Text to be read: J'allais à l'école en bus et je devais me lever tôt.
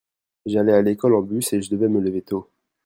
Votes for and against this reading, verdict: 1, 2, rejected